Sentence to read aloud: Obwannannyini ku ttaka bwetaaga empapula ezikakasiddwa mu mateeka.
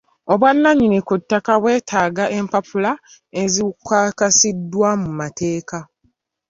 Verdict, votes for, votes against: accepted, 3, 0